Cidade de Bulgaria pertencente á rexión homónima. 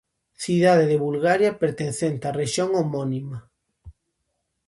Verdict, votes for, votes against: accepted, 2, 0